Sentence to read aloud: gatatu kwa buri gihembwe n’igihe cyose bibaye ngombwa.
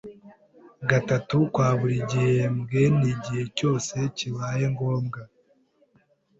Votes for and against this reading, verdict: 0, 2, rejected